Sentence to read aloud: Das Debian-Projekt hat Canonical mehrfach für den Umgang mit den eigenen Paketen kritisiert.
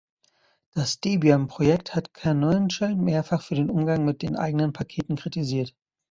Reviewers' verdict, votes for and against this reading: rejected, 0, 2